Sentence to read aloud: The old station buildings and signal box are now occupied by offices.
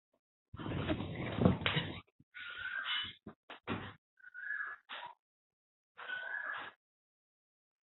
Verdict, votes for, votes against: rejected, 0, 2